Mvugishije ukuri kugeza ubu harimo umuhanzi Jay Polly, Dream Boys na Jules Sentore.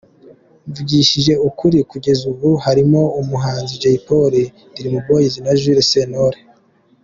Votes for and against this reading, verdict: 2, 0, accepted